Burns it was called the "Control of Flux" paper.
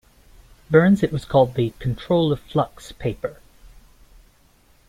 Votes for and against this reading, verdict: 2, 0, accepted